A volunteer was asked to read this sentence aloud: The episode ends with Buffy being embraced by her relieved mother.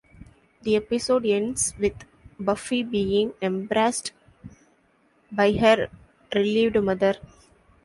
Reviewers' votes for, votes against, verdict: 0, 2, rejected